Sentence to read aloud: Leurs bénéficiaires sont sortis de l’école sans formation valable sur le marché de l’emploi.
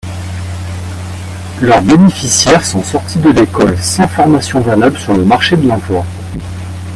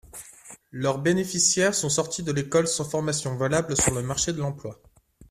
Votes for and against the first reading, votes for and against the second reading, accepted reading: 0, 2, 3, 1, second